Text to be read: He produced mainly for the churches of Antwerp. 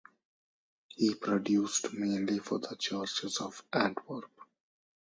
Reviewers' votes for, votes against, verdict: 2, 2, rejected